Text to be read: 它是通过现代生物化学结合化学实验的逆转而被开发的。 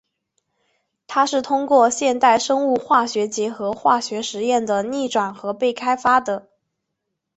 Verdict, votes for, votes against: accepted, 3, 0